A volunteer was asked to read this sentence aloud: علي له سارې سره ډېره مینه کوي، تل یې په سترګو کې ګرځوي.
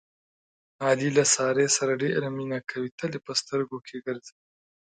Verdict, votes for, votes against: accepted, 2, 0